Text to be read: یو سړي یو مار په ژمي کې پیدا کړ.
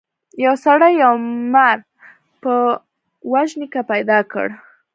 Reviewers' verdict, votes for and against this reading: rejected, 0, 2